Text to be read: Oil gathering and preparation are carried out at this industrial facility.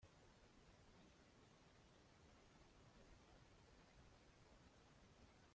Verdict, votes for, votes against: rejected, 1, 2